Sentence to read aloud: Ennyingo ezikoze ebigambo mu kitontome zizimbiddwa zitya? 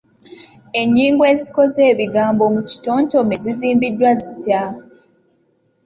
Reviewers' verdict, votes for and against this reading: accepted, 2, 0